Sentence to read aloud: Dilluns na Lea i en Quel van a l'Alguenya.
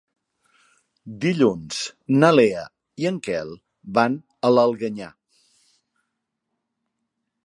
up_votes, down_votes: 1, 2